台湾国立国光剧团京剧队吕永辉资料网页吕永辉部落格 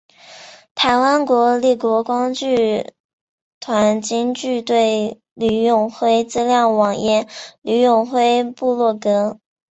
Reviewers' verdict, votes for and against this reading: accepted, 2, 1